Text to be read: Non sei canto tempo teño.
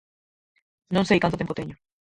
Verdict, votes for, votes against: rejected, 0, 4